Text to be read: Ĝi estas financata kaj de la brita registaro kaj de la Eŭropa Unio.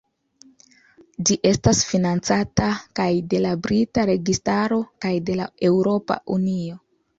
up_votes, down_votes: 2, 0